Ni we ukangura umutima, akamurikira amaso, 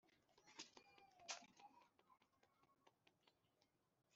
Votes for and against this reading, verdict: 0, 2, rejected